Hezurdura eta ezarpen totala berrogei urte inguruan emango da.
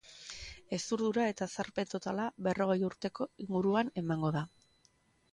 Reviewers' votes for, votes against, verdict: 2, 0, accepted